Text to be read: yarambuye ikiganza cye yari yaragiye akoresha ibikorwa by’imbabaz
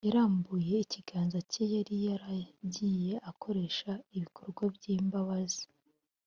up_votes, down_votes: 2, 0